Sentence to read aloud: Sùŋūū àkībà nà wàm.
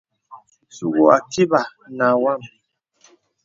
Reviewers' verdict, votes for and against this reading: accepted, 2, 0